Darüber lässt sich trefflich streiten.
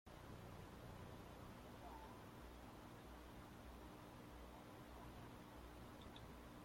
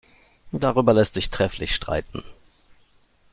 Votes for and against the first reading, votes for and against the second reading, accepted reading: 0, 2, 2, 0, second